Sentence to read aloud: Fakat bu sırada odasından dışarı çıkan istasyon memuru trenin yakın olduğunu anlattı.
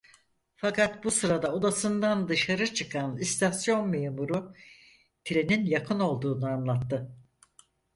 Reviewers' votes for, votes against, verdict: 4, 0, accepted